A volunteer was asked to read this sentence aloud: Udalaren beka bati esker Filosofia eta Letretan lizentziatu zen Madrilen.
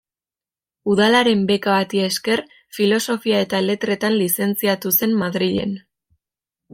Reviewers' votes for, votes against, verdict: 2, 0, accepted